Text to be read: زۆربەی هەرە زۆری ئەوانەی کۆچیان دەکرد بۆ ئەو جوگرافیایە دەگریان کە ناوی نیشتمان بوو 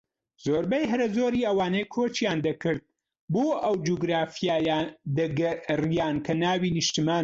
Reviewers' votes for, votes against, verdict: 0, 2, rejected